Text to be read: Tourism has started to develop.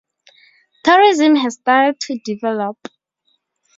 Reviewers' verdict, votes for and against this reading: rejected, 0, 2